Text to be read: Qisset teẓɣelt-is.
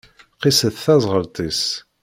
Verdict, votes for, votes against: accepted, 2, 0